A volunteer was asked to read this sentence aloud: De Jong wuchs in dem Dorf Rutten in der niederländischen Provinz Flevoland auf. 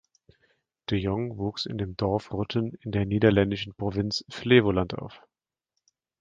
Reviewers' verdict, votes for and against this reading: accepted, 2, 1